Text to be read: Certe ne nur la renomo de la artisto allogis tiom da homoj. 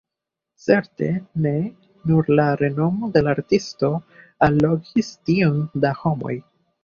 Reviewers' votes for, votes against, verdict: 2, 1, accepted